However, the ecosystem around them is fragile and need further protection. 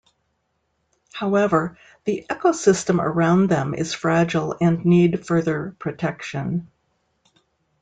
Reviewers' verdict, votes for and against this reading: accepted, 2, 0